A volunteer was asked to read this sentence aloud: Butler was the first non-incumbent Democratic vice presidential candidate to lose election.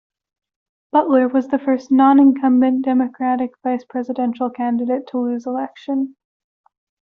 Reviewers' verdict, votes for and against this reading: accepted, 2, 0